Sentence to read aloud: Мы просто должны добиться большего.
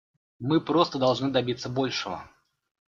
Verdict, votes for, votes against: accepted, 2, 0